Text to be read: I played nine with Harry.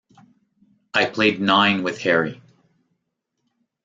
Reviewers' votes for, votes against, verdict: 2, 0, accepted